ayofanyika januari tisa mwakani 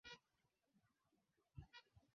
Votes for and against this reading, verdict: 0, 4, rejected